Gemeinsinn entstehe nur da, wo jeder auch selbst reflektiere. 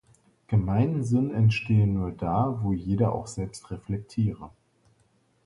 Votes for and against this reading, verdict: 2, 0, accepted